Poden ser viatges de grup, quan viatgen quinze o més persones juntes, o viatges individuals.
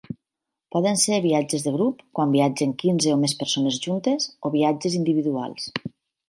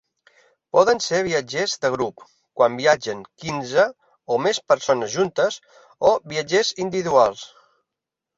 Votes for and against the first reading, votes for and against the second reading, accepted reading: 4, 0, 0, 3, first